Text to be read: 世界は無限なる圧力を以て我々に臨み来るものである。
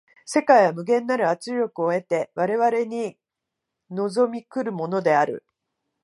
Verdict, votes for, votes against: rejected, 1, 2